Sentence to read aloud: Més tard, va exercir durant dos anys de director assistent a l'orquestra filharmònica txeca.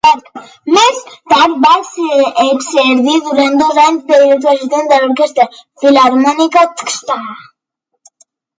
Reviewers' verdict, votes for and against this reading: rejected, 0, 2